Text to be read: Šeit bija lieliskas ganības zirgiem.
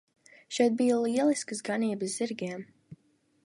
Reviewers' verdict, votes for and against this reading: accepted, 2, 0